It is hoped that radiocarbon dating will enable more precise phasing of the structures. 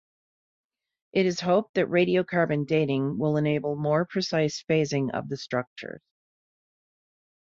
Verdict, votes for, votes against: rejected, 0, 2